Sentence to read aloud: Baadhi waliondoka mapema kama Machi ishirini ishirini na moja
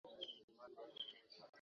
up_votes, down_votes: 0, 2